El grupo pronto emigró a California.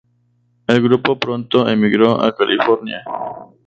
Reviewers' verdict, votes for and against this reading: accepted, 2, 0